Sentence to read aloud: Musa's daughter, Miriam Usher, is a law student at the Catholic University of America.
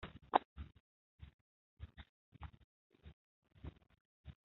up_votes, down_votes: 0, 2